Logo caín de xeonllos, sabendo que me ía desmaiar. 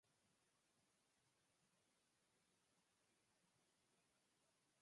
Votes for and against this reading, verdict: 0, 4, rejected